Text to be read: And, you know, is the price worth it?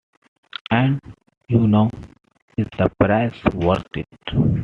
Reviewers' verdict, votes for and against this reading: accepted, 2, 0